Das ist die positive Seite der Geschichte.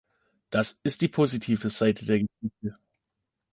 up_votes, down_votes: 0, 2